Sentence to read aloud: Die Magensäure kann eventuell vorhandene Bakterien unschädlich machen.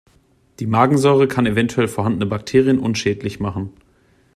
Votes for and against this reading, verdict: 2, 0, accepted